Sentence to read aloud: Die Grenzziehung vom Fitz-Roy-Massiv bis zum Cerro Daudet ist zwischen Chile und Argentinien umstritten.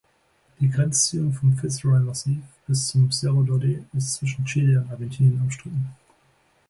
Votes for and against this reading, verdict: 2, 0, accepted